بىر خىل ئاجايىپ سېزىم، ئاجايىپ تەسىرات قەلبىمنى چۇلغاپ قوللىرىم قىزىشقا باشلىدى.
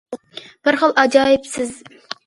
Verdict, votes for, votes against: rejected, 0, 2